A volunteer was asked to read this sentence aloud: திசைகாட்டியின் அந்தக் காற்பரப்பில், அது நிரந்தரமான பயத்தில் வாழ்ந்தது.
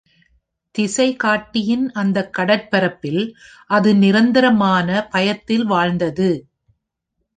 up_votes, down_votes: 0, 2